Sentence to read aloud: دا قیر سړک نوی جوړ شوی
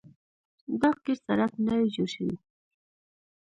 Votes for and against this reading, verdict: 0, 2, rejected